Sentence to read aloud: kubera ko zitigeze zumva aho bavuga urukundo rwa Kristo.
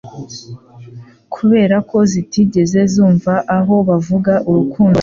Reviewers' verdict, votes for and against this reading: accepted, 2, 1